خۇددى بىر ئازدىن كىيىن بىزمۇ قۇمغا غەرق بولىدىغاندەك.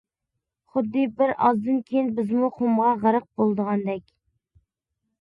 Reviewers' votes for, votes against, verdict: 2, 0, accepted